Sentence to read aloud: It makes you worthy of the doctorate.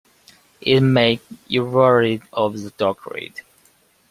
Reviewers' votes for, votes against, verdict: 0, 2, rejected